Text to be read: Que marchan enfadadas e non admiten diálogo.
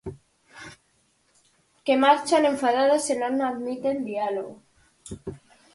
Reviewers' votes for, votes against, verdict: 4, 0, accepted